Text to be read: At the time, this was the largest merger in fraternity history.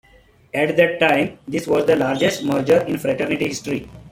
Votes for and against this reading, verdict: 1, 2, rejected